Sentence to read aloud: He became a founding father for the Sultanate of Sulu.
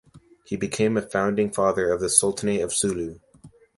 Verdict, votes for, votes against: rejected, 0, 2